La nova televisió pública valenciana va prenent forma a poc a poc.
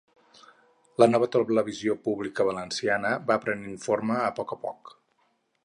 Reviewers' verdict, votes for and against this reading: rejected, 2, 4